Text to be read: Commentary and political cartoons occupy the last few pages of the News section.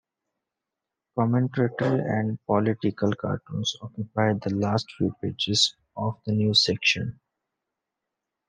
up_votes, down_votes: 2, 1